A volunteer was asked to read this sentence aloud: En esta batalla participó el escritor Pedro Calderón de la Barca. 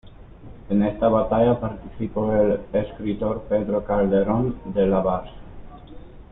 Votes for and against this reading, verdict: 2, 1, accepted